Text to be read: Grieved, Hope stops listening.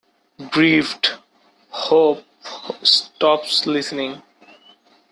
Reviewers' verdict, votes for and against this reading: accepted, 2, 0